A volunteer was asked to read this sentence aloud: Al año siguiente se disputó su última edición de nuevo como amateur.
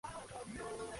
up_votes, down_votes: 0, 4